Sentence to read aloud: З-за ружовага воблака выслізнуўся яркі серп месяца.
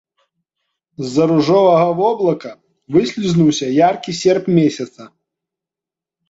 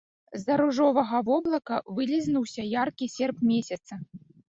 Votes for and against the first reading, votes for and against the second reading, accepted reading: 2, 0, 0, 2, first